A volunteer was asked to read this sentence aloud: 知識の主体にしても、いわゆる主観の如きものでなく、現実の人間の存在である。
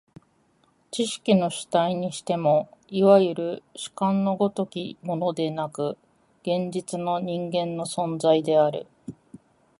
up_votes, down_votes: 2, 0